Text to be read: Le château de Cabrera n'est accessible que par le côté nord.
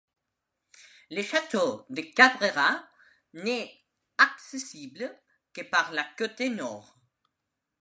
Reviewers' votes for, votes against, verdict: 1, 2, rejected